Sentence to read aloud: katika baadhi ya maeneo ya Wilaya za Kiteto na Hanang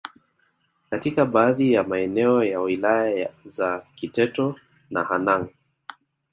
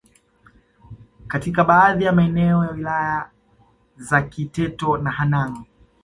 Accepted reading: second